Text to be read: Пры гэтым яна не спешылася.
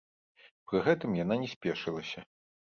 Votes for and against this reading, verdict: 2, 0, accepted